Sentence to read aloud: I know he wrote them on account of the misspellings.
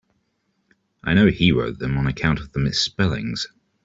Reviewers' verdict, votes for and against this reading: accepted, 3, 0